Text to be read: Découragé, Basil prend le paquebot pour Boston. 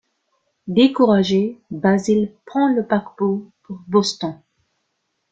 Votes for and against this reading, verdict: 0, 2, rejected